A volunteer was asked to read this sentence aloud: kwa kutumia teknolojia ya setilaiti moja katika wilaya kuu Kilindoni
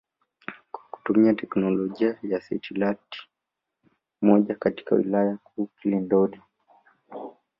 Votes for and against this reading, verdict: 1, 2, rejected